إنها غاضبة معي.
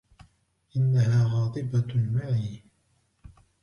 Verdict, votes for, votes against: rejected, 1, 2